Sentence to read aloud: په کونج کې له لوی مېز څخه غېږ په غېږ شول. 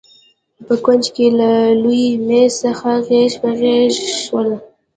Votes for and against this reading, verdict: 0, 2, rejected